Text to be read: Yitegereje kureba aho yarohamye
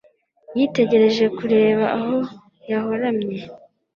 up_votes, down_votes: 1, 2